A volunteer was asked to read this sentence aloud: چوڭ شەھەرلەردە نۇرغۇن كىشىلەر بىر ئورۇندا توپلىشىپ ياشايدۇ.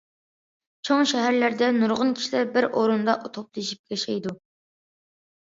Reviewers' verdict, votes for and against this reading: rejected, 1, 2